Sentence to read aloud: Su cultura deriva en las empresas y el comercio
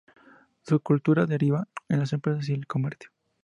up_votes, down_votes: 2, 0